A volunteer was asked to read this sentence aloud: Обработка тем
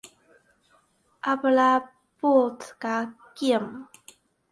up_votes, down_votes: 0, 2